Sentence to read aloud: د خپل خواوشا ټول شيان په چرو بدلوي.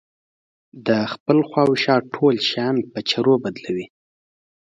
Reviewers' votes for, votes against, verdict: 2, 0, accepted